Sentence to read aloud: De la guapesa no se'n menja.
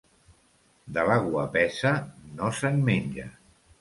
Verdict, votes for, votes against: accepted, 2, 0